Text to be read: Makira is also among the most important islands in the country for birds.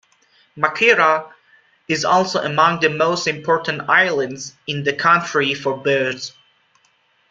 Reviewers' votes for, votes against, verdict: 2, 0, accepted